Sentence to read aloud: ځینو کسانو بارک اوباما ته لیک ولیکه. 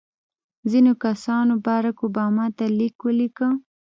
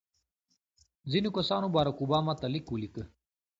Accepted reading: second